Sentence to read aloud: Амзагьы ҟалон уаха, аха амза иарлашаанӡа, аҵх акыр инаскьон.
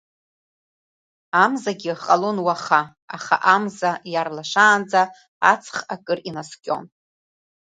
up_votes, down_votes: 2, 0